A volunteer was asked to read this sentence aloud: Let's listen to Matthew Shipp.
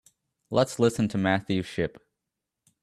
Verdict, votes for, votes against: accepted, 2, 0